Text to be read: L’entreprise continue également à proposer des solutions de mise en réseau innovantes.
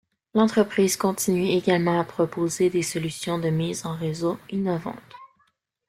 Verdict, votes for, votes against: accepted, 2, 0